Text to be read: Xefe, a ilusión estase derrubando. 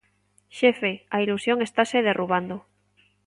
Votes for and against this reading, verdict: 2, 0, accepted